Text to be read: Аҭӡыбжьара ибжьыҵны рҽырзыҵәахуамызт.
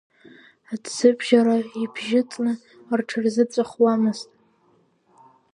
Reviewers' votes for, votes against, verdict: 2, 1, accepted